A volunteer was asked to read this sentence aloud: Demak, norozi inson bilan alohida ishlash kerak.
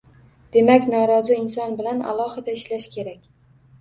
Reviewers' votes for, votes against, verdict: 2, 0, accepted